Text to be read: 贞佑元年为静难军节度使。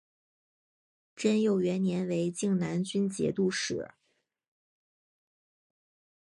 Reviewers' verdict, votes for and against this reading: accepted, 3, 0